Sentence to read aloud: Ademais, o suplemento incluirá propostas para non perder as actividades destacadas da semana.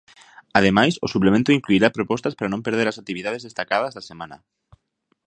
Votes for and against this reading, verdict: 2, 0, accepted